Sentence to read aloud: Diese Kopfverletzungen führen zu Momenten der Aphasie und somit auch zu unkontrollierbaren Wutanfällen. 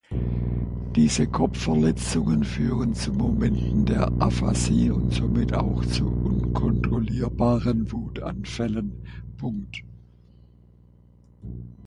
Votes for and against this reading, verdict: 0, 2, rejected